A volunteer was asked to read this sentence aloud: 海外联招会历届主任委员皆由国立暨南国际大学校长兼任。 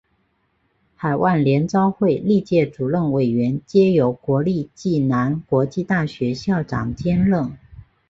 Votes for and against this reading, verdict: 2, 0, accepted